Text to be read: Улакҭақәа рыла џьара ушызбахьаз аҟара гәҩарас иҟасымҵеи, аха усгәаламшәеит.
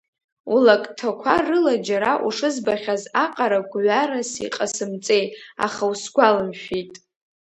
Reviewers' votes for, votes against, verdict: 0, 2, rejected